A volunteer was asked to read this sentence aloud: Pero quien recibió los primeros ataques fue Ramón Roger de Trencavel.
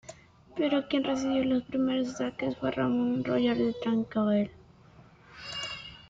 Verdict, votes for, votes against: accepted, 2, 1